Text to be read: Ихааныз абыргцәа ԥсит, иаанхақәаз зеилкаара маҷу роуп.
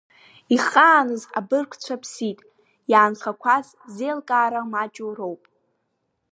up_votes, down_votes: 2, 0